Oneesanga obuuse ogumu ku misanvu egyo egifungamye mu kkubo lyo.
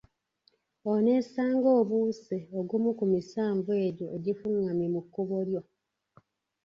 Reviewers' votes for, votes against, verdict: 2, 1, accepted